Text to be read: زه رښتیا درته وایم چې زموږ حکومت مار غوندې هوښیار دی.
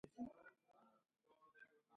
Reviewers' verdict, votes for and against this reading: rejected, 1, 2